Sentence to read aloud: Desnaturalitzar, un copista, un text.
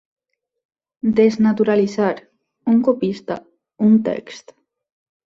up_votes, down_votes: 3, 0